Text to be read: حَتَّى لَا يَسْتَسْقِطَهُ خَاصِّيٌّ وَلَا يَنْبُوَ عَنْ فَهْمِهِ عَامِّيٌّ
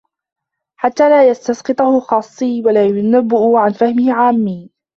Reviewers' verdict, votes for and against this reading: rejected, 0, 2